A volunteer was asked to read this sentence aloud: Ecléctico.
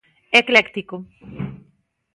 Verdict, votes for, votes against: accepted, 2, 0